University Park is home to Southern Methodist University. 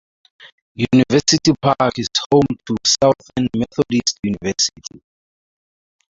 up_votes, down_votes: 0, 4